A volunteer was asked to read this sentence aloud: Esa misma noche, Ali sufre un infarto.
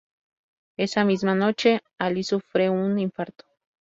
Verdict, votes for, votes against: accepted, 2, 0